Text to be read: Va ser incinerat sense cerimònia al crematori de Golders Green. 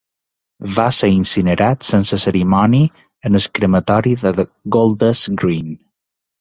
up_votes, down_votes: 1, 2